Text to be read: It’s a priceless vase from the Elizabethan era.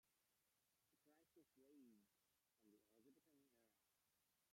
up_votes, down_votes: 0, 2